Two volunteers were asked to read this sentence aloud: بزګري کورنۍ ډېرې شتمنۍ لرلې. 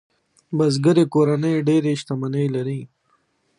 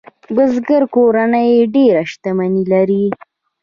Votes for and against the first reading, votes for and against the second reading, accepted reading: 2, 0, 1, 2, first